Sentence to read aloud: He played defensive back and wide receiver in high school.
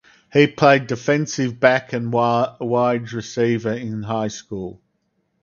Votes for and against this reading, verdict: 2, 2, rejected